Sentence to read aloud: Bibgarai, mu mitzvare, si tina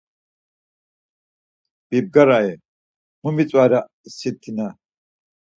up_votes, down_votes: 4, 2